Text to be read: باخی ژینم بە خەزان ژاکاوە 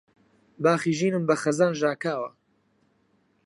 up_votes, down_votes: 4, 0